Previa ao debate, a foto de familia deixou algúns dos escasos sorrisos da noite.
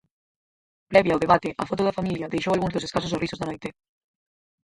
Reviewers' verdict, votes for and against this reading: rejected, 0, 4